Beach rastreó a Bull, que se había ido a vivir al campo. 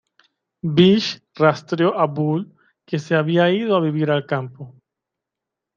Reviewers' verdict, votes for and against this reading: rejected, 1, 2